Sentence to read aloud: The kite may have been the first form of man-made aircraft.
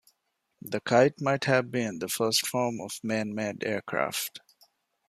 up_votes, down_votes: 1, 2